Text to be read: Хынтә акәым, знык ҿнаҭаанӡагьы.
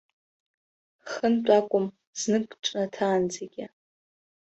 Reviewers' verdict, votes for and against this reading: accepted, 2, 1